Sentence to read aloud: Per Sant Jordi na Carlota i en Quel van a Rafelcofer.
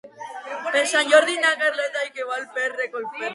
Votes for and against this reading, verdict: 1, 2, rejected